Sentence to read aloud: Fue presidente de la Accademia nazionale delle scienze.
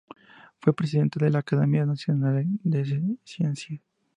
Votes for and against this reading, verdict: 2, 0, accepted